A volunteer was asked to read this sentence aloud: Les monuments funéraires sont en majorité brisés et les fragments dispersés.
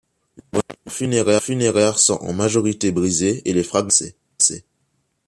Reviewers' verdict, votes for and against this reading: rejected, 0, 3